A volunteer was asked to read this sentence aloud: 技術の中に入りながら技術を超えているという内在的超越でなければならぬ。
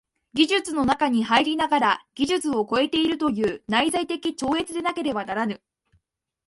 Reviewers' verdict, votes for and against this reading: accepted, 2, 0